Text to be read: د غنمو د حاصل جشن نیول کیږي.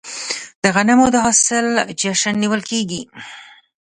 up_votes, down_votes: 1, 2